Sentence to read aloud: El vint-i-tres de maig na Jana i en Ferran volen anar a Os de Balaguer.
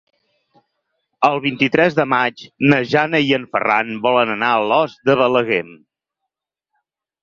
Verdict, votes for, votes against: rejected, 2, 4